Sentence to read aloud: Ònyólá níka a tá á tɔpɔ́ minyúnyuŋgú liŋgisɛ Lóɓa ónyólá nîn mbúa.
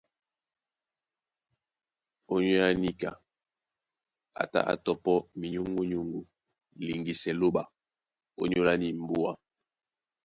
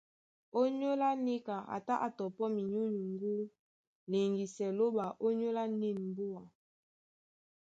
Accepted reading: second